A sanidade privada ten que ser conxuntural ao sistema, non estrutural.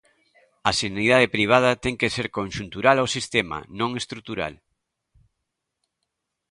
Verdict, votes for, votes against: accepted, 2, 0